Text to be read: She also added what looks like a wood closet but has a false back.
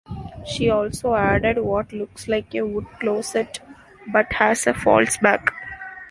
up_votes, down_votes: 0, 2